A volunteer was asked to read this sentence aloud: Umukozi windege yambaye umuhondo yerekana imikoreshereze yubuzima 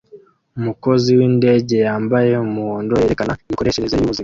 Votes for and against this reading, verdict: 1, 2, rejected